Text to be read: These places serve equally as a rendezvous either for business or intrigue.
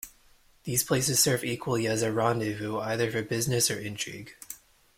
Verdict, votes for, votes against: accepted, 2, 0